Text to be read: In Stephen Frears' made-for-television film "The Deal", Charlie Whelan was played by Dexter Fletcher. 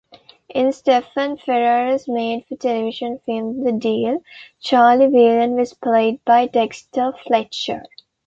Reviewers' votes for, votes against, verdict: 1, 2, rejected